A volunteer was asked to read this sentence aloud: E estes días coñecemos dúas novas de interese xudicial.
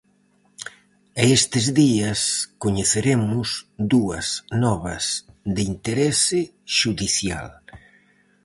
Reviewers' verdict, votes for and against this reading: rejected, 0, 4